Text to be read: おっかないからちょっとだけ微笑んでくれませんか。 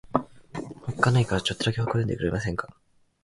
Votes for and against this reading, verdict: 4, 0, accepted